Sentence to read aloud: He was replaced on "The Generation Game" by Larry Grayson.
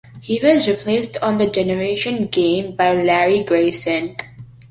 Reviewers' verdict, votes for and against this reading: accepted, 2, 0